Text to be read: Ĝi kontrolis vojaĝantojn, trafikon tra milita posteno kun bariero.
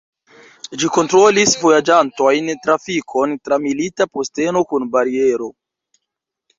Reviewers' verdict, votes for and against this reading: accepted, 2, 1